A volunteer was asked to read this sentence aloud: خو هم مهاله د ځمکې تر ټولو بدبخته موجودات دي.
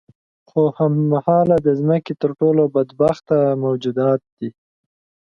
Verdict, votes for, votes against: accepted, 2, 0